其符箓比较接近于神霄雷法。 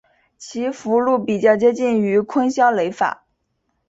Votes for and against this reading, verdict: 0, 2, rejected